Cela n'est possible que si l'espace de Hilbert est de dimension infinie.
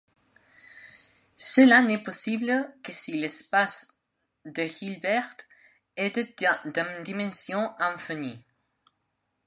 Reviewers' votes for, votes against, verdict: 0, 2, rejected